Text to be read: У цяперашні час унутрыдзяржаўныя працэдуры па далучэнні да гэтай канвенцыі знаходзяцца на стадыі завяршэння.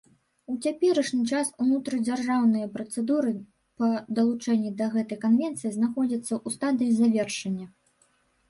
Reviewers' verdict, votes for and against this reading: rejected, 1, 3